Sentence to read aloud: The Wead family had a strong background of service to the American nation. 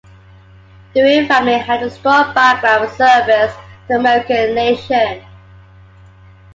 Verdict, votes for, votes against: accepted, 2, 0